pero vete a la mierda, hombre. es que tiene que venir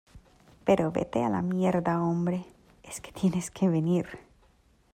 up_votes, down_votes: 0, 2